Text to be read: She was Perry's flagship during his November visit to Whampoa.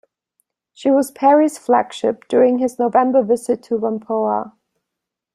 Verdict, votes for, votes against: accepted, 2, 0